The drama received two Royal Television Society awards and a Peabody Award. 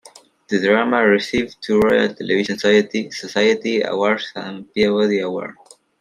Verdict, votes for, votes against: rejected, 0, 2